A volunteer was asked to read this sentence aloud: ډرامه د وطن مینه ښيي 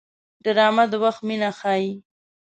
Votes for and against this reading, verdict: 0, 2, rejected